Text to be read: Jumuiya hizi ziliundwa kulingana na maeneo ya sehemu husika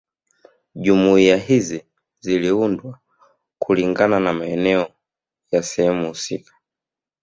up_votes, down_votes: 1, 2